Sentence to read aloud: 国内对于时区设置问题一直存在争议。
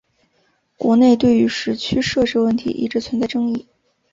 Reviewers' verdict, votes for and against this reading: accepted, 3, 0